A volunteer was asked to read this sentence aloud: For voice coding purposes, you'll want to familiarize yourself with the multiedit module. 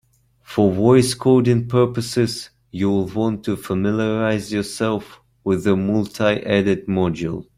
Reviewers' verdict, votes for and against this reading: accepted, 2, 0